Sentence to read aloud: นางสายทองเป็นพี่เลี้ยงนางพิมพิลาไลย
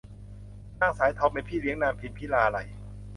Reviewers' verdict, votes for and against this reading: accepted, 3, 0